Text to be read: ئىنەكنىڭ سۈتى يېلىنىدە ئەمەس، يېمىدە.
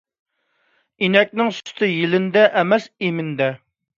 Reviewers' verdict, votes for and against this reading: rejected, 2, 3